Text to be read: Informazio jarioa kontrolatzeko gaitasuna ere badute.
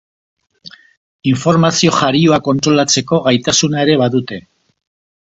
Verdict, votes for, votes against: accepted, 3, 0